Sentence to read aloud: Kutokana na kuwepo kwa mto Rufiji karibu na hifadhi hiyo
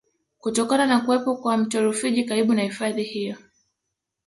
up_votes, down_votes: 2, 0